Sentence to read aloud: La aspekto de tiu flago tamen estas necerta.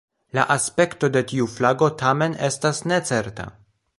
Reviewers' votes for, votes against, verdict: 3, 0, accepted